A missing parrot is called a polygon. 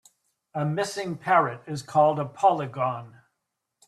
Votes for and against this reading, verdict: 3, 0, accepted